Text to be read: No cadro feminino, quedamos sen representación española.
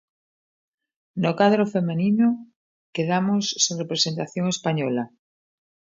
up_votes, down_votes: 0, 2